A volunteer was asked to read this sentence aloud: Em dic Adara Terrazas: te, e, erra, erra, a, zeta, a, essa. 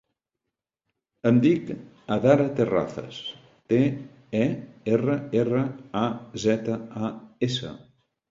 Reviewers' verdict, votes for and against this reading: accepted, 2, 0